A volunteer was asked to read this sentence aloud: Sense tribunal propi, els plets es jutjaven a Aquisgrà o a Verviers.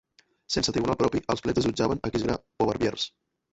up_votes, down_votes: 0, 2